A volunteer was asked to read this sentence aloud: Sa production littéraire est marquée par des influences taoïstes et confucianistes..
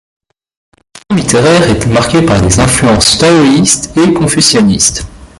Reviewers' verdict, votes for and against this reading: rejected, 1, 2